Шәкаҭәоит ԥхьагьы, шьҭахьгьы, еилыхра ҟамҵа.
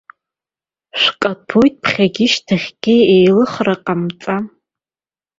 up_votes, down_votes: 0, 2